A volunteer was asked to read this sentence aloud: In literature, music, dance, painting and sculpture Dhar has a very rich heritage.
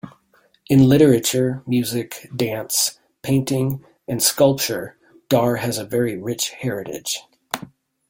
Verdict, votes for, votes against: accepted, 2, 0